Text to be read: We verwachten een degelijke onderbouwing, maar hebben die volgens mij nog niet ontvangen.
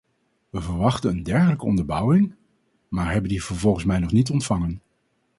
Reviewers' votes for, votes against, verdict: 0, 4, rejected